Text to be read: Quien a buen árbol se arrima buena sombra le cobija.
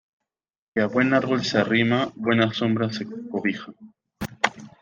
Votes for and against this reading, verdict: 1, 2, rejected